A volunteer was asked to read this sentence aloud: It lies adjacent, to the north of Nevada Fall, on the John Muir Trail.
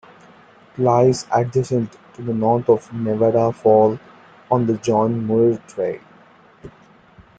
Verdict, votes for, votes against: accepted, 2, 1